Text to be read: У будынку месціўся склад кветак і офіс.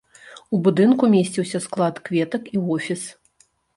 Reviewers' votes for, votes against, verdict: 2, 0, accepted